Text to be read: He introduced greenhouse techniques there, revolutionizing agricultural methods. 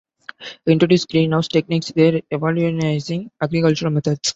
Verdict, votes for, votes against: rejected, 0, 2